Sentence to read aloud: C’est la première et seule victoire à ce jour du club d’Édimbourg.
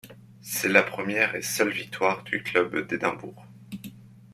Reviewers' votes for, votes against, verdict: 2, 1, accepted